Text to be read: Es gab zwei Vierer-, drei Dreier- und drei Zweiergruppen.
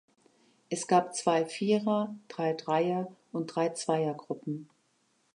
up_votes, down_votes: 2, 0